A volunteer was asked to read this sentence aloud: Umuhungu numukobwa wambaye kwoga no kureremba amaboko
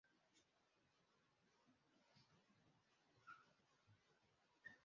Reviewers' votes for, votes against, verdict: 0, 2, rejected